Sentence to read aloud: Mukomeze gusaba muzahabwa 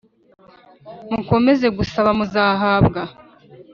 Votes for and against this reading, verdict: 5, 0, accepted